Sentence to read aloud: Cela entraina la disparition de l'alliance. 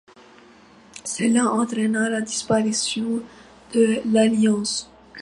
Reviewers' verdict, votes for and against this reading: accepted, 2, 0